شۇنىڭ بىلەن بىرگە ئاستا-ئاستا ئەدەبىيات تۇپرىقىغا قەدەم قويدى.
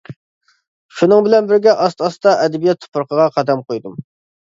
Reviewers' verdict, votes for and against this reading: rejected, 1, 2